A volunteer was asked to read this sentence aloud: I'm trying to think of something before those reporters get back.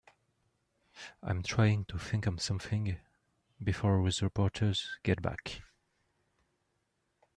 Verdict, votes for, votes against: rejected, 1, 2